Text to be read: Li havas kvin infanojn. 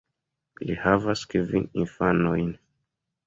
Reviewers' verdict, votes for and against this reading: accepted, 2, 0